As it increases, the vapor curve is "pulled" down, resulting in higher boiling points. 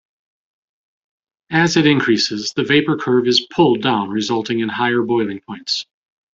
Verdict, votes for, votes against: accepted, 2, 0